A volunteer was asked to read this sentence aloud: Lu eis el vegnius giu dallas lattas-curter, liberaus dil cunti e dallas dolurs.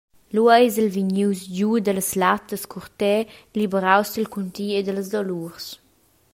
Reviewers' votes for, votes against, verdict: 2, 0, accepted